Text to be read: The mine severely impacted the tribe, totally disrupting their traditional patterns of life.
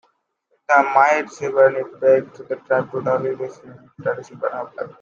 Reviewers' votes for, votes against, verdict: 0, 2, rejected